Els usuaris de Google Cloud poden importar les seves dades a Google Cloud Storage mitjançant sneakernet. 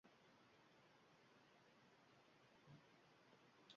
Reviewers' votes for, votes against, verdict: 0, 2, rejected